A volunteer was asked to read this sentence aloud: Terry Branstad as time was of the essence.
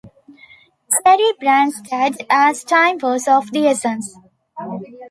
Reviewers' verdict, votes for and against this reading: rejected, 1, 2